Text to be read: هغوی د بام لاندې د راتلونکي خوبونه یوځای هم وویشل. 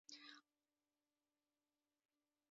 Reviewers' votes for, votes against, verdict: 1, 2, rejected